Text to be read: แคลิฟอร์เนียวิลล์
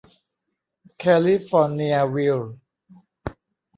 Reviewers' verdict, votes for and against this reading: accepted, 2, 0